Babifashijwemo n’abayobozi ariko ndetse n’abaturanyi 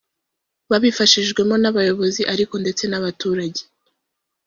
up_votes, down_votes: 0, 2